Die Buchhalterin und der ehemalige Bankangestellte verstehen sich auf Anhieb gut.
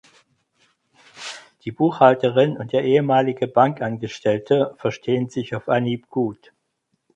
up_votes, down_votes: 4, 2